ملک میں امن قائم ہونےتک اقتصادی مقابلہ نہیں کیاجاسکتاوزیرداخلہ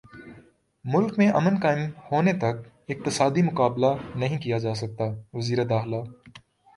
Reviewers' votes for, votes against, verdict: 2, 1, accepted